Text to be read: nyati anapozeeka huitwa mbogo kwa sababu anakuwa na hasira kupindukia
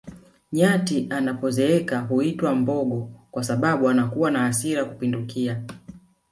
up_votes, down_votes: 1, 2